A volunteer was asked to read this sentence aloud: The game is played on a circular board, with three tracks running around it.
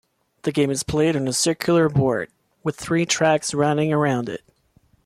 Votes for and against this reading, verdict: 2, 0, accepted